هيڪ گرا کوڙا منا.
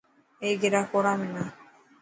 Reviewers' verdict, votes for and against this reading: accepted, 2, 0